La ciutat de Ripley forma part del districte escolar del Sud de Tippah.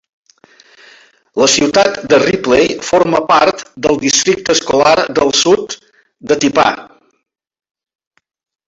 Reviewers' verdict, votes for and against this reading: accepted, 3, 0